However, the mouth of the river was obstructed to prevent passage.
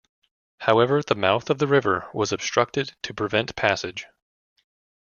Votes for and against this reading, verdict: 2, 0, accepted